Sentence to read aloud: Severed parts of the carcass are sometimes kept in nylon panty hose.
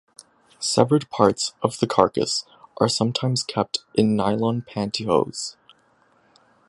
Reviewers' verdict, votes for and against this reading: rejected, 0, 2